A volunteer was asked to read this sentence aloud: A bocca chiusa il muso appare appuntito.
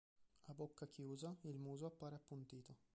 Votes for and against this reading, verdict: 0, 2, rejected